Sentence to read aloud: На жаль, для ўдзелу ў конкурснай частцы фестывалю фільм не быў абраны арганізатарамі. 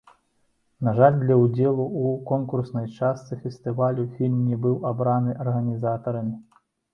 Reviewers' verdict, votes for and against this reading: accepted, 2, 0